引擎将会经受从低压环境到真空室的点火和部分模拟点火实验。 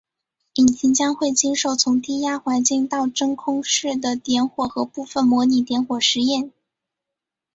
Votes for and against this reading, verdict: 3, 1, accepted